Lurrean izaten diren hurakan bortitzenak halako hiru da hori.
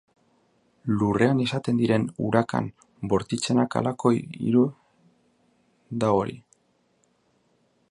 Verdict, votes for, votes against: rejected, 0, 2